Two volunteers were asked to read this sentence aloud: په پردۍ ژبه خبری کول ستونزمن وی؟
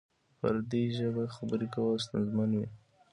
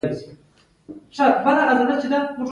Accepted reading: first